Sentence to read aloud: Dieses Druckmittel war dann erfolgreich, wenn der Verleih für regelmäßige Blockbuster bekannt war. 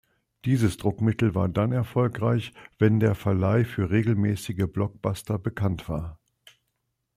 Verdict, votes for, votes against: accepted, 2, 0